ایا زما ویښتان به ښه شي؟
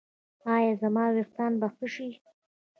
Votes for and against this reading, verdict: 2, 0, accepted